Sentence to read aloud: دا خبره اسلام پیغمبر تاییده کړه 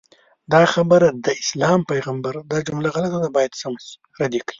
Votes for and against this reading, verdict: 0, 2, rejected